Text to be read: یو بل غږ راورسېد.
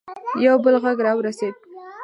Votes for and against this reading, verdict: 0, 2, rejected